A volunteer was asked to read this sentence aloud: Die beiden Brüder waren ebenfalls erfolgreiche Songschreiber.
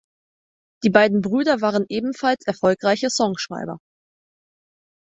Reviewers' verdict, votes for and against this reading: accepted, 4, 0